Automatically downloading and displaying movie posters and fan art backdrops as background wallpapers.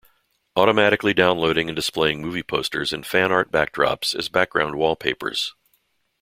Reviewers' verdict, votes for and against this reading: accepted, 2, 0